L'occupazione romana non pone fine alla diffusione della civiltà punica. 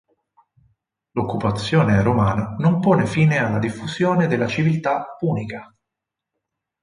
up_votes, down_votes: 4, 0